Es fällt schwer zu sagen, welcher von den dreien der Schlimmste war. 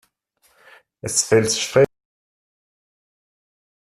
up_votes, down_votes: 0, 2